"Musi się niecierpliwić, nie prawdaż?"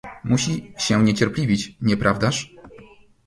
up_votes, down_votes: 0, 2